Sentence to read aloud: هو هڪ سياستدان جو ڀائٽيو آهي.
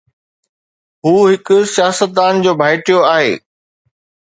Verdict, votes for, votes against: accepted, 2, 0